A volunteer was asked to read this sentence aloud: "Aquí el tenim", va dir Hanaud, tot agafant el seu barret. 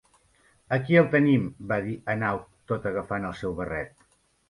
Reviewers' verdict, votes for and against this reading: accepted, 2, 0